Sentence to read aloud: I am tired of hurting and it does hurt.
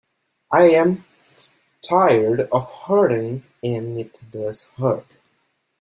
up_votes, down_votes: 2, 1